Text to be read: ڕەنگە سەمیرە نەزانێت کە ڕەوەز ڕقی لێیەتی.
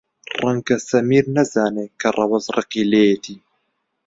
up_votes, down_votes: 1, 2